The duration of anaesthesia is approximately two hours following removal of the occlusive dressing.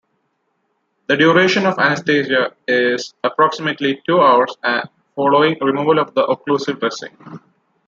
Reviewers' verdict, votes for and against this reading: rejected, 0, 2